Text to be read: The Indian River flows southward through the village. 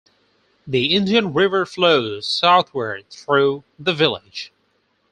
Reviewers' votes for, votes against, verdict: 4, 0, accepted